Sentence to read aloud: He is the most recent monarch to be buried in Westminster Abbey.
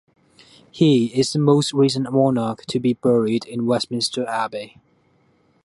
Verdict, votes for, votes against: accepted, 2, 0